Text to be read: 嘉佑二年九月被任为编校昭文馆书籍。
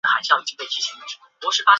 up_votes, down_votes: 0, 3